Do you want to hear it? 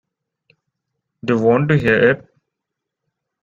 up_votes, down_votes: 1, 2